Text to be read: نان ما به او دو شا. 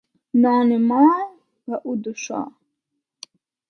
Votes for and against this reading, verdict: 2, 1, accepted